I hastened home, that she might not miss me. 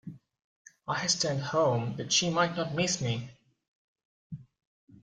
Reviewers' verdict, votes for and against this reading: rejected, 2, 3